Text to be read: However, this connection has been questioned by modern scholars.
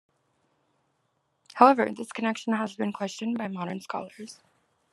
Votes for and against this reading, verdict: 2, 0, accepted